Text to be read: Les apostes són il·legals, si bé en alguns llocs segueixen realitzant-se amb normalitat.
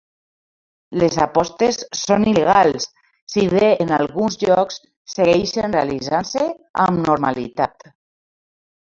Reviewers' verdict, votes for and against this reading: accepted, 2, 0